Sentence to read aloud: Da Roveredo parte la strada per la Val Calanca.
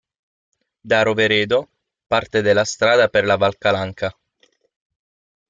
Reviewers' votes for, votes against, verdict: 3, 6, rejected